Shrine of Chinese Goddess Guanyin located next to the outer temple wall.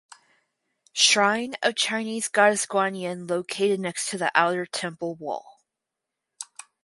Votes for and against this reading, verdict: 2, 2, rejected